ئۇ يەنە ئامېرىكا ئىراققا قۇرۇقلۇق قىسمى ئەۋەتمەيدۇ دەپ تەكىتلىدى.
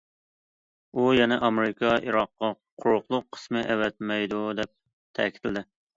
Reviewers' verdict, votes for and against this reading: accepted, 2, 0